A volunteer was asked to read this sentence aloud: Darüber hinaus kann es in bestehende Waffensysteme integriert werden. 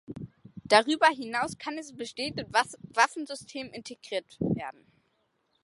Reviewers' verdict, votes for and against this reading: rejected, 0, 3